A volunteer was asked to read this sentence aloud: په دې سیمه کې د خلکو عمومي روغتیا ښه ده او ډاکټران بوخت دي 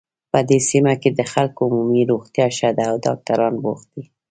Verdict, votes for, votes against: rejected, 1, 2